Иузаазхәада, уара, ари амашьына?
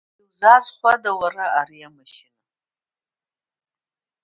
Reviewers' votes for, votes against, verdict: 1, 2, rejected